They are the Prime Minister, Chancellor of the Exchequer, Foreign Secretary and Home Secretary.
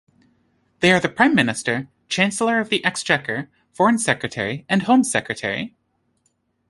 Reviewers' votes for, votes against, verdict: 2, 0, accepted